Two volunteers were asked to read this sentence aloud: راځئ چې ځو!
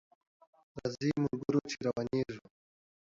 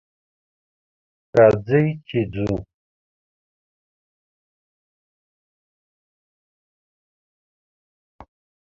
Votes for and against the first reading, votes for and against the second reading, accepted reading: 1, 2, 2, 0, second